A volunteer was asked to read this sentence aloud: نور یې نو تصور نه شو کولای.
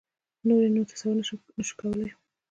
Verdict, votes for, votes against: accepted, 2, 0